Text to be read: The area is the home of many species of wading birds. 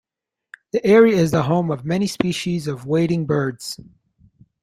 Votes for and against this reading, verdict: 2, 0, accepted